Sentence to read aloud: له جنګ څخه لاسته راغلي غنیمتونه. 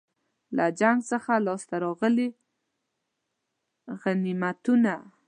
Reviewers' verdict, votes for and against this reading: rejected, 1, 2